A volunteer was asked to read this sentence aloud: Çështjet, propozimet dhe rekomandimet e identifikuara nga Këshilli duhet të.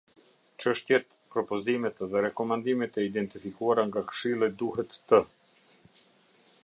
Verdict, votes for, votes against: accepted, 2, 0